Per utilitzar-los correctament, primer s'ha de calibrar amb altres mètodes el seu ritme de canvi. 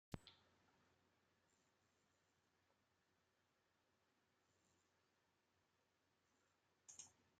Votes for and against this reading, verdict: 0, 2, rejected